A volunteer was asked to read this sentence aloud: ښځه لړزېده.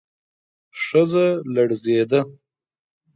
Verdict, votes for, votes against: accepted, 2, 0